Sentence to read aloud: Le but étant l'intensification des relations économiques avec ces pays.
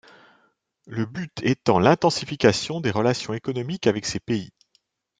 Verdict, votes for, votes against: accepted, 2, 0